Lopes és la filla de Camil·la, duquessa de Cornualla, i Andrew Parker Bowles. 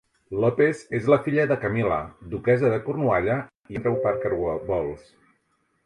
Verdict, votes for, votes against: rejected, 1, 2